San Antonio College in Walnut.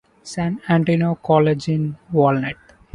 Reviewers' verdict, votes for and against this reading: rejected, 1, 2